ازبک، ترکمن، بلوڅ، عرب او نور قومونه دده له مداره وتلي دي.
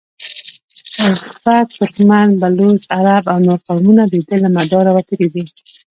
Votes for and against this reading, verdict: 1, 2, rejected